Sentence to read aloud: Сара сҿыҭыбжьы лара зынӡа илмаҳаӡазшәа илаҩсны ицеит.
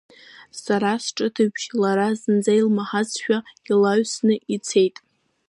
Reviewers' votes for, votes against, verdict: 1, 2, rejected